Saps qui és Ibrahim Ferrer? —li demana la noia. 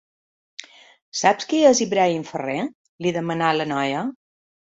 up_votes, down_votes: 3, 0